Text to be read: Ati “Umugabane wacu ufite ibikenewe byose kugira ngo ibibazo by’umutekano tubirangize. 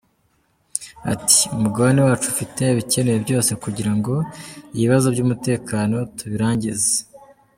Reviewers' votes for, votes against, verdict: 2, 0, accepted